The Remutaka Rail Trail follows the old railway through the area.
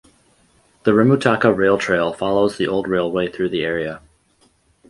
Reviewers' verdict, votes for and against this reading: accepted, 4, 0